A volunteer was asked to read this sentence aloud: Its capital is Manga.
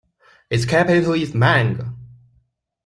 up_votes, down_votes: 0, 2